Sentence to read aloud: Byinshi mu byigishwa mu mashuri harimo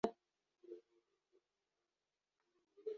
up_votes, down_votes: 1, 2